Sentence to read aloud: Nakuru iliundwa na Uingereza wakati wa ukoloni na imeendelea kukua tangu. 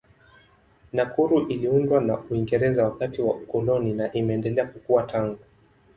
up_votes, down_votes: 2, 0